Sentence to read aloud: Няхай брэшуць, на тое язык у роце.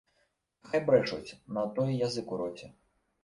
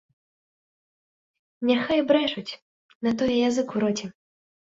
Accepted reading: second